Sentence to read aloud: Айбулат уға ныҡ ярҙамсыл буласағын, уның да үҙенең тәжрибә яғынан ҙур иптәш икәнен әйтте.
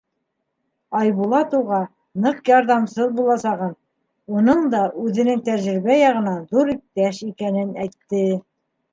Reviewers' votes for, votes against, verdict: 2, 0, accepted